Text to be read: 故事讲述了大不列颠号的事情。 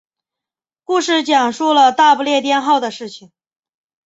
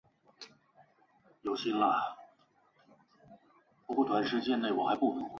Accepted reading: first